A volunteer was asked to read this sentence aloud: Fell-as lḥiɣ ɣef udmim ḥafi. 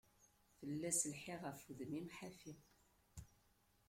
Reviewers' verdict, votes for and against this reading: rejected, 1, 2